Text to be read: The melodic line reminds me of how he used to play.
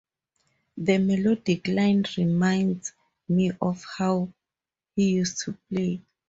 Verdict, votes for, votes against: accepted, 4, 0